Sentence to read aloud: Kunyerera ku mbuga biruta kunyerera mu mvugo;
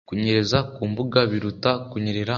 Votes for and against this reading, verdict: 2, 0, accepted